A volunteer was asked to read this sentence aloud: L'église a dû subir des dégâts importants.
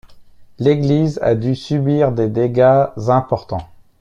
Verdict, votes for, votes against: rejected, 1, 2